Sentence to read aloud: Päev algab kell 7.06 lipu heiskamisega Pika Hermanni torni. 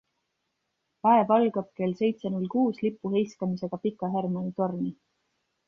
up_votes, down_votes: 0, 2